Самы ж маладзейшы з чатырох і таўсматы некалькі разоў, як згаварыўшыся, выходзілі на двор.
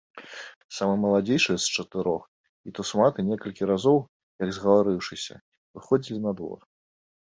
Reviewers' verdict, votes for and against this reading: rejected, 0, 2